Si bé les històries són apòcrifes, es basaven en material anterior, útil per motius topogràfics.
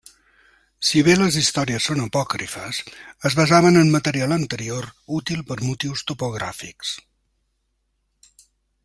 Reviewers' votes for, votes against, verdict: 4, 0, accepted